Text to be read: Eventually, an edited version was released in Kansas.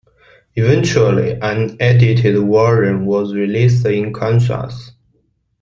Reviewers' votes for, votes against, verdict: 2, 1, accepted